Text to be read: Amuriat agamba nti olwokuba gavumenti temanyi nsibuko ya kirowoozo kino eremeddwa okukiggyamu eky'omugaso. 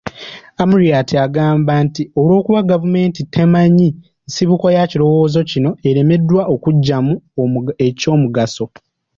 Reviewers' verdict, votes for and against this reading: rejected, 0, 2